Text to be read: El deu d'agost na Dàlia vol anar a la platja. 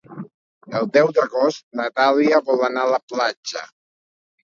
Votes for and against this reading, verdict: 2, 0, accepted